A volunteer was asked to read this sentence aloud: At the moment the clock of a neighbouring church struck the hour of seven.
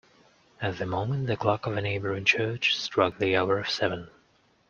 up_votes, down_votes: 2, 0